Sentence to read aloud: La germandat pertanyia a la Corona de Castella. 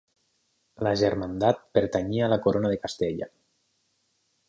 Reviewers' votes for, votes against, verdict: 8, 0, accepted